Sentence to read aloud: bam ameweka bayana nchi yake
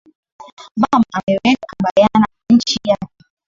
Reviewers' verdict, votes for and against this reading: rejected, 2, 2